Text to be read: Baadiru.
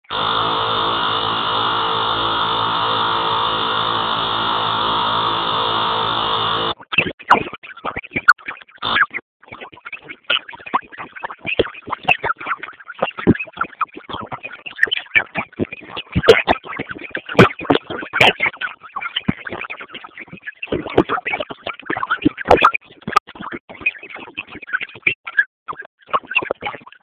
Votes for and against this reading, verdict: 0, 2, rejected